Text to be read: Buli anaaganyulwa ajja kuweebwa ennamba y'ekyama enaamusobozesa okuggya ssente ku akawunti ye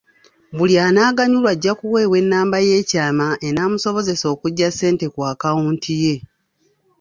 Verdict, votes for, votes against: accepted, 2, 0